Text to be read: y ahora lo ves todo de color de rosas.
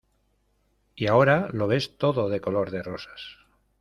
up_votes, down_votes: 2, 0